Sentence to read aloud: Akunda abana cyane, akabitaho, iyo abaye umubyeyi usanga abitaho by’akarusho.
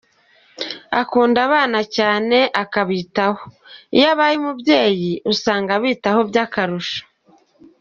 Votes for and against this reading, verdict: 3, 0, accepted